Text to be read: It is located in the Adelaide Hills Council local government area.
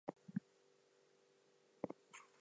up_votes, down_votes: 0, 4